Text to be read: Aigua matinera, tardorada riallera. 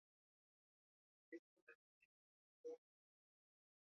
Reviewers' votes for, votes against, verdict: 2, 1, accepted